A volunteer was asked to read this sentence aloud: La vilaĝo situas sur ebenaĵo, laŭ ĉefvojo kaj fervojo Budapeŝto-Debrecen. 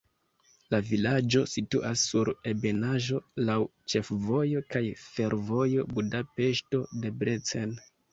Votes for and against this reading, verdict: 2, 0, accepted